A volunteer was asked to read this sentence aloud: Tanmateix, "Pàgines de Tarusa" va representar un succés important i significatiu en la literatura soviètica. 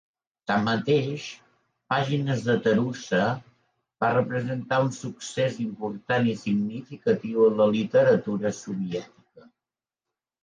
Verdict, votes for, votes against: accepted, 2, 1